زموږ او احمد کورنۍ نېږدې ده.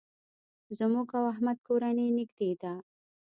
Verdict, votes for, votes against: accepted, 2, 0